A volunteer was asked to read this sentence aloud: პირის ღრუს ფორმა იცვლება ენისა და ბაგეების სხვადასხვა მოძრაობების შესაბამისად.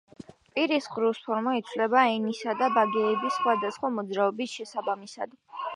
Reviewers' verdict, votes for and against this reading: rejected, 0, 2